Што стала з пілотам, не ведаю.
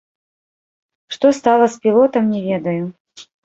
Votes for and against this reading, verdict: 0, 2, rejected